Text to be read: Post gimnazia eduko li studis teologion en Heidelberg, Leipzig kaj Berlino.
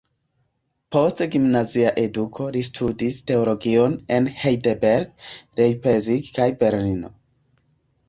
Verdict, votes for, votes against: rejected, 1, 2